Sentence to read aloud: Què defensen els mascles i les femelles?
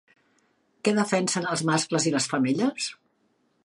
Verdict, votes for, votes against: accepted, 4, 0